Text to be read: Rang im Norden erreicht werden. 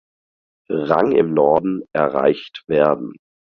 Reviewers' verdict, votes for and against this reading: accepted, 4, 0